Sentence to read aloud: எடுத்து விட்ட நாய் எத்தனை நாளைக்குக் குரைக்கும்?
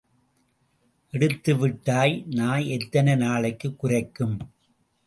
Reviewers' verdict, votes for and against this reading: rejected, 0, 2